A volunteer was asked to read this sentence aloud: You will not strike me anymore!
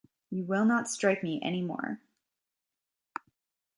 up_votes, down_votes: 2, 0